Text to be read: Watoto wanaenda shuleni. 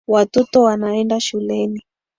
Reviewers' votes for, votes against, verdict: 0, 2, rejected